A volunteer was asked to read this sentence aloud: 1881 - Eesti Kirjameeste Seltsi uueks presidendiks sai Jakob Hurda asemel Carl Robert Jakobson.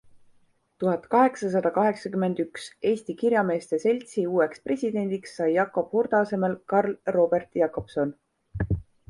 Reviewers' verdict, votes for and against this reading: rejected, 0, 2